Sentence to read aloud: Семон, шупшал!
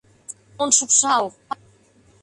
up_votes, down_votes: 0, 2